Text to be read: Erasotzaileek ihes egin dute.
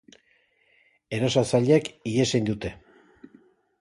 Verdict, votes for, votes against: rejected, 0, 2